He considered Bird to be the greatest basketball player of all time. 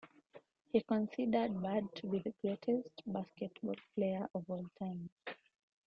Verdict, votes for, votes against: accepted, 2, 0